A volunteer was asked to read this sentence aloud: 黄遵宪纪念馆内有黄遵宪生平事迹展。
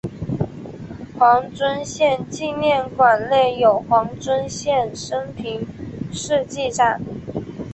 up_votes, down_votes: 2, 0